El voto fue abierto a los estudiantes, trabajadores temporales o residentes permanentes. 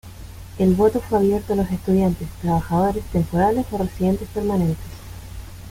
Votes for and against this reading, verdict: 2, 0, accepted